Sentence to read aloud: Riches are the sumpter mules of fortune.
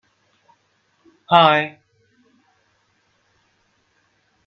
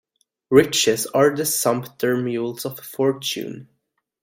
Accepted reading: second